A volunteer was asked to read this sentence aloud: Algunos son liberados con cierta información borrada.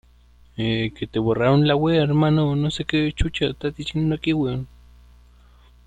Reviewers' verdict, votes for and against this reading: rejected, 0, 2